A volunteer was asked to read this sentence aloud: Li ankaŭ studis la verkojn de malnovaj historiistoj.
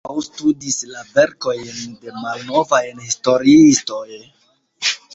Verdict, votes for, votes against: accepted, 2, 1